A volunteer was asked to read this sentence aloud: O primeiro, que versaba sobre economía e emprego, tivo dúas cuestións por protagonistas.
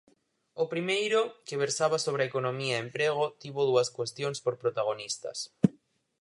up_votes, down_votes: 4, 0